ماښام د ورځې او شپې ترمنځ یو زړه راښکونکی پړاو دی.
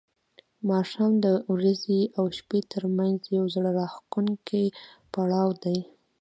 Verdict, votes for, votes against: accepted, 2, 1